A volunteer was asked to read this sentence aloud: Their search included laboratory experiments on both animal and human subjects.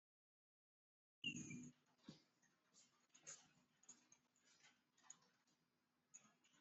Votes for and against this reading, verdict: 0, 2, rejected